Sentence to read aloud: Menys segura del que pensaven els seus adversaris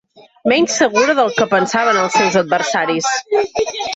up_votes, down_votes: 2, 3